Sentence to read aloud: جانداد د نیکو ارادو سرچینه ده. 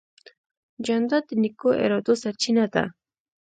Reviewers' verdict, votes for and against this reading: accepted, 3, 0